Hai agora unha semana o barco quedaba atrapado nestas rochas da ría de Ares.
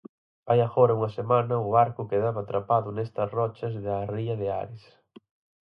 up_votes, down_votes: 4, 0